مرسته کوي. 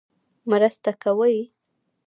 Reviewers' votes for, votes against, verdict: 2, 0, accepted